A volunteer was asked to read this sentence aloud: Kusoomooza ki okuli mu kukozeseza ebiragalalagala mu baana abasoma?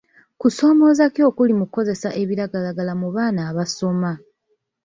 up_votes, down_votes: 0, 2